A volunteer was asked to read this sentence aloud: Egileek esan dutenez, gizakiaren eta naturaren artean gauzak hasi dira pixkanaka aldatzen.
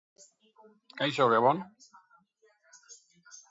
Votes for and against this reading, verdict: 1, 2, rejected